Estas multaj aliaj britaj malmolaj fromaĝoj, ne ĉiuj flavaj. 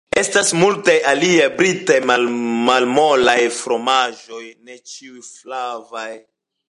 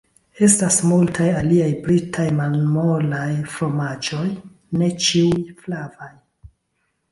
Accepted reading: first